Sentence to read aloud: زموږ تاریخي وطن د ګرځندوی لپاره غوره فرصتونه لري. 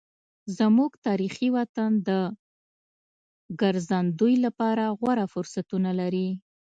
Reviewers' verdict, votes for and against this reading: accepted, 2, 0